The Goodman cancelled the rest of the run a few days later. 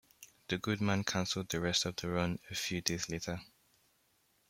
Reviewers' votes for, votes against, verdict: 2, 1, accepted